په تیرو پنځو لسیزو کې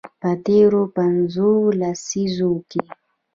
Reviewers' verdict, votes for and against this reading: rejected, 0, 2